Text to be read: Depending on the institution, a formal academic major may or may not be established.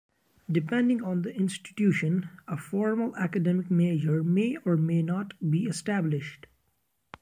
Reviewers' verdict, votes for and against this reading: rejected, 1, 2